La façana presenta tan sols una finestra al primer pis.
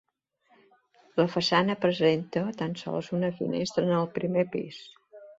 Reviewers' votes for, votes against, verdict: 0, 2, rejected